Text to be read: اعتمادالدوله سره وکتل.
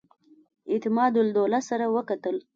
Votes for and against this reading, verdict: 2, 0, accepted